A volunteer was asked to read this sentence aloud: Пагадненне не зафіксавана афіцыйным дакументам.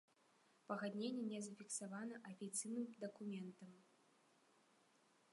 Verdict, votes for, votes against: accepted, 2, 0